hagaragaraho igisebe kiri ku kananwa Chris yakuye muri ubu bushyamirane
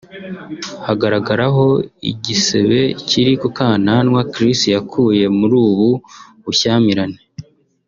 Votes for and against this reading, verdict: 2, 0, accepted